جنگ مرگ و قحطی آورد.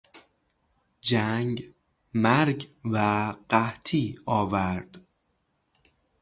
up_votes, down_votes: 0, 3